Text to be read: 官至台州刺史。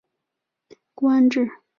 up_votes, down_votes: 1, 3